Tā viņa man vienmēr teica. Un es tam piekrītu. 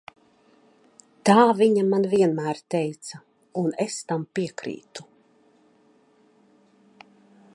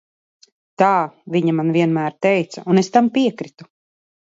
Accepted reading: first